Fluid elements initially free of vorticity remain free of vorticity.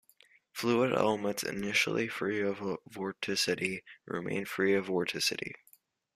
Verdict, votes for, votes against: rejected, 1, 2